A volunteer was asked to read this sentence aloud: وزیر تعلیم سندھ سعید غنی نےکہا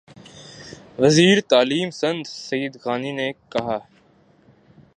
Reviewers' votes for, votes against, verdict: 2, 1, accepted